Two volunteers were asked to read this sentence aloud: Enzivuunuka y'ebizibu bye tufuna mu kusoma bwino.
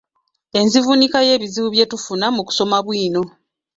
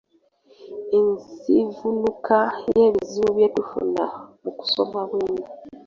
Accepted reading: first